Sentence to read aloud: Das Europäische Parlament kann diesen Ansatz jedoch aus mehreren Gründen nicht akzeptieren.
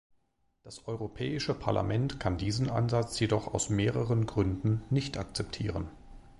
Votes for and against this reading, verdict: 2, 0, accepted